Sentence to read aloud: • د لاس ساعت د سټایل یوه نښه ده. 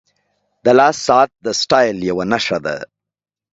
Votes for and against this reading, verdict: 2, 0, accepted